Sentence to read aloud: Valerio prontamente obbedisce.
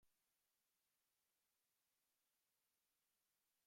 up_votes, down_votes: 0, 2